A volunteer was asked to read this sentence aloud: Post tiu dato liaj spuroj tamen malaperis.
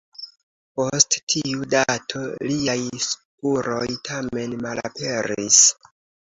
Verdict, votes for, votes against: accepted, 2, 0